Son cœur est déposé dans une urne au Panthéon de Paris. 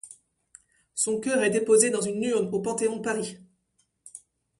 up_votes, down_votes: 2, 1